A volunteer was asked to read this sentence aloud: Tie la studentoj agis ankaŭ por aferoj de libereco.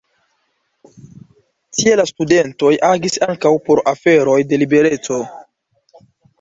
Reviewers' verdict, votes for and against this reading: accepted, 2, 0